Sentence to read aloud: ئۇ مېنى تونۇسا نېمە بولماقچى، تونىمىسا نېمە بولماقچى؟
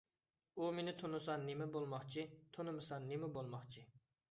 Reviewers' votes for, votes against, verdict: 3, 0, accepted